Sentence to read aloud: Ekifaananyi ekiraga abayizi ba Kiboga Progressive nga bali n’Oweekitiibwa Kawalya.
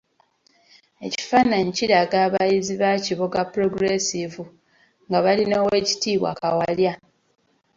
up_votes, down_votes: 1, 2